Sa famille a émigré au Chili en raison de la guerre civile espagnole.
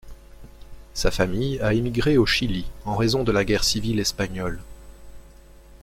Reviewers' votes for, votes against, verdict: 2, 0, accepted